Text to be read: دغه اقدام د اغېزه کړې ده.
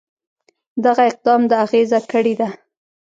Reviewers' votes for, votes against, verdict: 2, 0, accepted